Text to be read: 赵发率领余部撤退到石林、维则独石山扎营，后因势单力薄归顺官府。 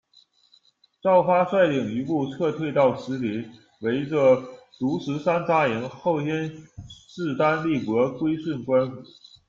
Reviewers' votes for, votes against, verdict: 1, 2, rejected